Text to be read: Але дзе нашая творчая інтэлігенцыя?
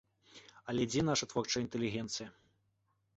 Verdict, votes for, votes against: accepted, 3, 0